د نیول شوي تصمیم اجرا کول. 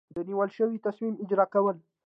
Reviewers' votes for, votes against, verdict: 2, 0, accepted